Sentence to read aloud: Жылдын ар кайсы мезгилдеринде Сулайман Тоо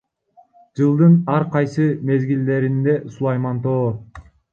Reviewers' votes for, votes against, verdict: 0, 2, rejected